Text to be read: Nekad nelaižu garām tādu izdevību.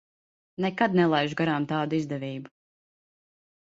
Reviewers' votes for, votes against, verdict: 2, 0, accepted